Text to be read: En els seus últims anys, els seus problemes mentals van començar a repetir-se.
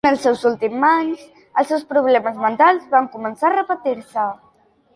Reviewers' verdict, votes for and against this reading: rejected, 1, 2